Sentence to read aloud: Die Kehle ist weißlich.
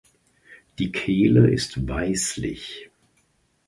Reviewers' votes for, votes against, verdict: 3, 0, accepted